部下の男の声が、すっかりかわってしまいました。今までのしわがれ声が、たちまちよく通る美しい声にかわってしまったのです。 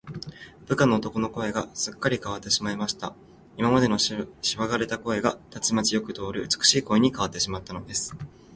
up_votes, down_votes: 0, 2